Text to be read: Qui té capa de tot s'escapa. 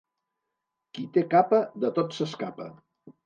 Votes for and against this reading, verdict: 2, 0, accepted